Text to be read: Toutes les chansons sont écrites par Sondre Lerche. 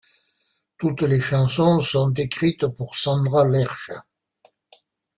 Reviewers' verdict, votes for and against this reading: rejected, 1, 2